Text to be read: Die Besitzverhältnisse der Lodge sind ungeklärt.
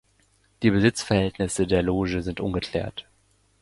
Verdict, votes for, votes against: rejected, 0, 2